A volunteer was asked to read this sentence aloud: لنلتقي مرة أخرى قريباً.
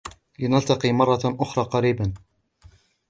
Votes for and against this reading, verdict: 2, 0, accepted